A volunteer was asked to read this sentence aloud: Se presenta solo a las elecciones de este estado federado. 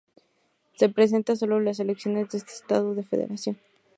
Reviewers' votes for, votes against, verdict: 2, 4, rejected